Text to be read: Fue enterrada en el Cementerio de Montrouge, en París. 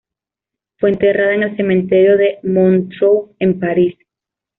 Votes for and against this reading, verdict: 1, 2, rejected